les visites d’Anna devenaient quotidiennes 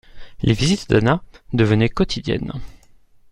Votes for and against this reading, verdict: 2, 0, accepted